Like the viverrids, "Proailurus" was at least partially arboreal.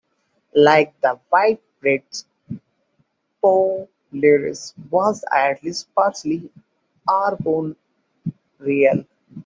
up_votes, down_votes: 0, 2